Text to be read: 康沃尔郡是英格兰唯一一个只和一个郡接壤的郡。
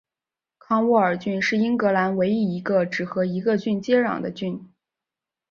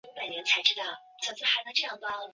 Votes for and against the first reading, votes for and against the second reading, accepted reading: 2, 0, 0, 3, first